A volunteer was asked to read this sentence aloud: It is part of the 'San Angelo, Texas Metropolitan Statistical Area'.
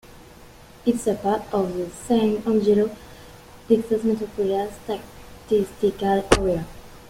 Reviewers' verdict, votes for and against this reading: rejected, 0, 2